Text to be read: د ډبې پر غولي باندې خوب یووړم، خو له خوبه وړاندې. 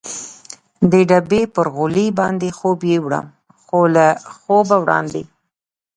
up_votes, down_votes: 2, 0